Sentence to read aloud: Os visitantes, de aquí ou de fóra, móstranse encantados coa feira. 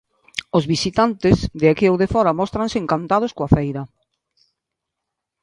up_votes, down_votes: 2, 0